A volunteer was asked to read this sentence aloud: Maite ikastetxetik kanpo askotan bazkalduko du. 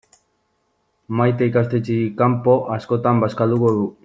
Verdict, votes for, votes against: rejected, 1, 2